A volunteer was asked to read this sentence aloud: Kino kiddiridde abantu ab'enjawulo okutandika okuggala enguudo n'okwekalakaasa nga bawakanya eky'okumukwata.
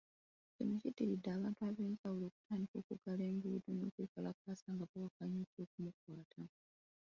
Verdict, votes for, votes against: rejected, 0, 2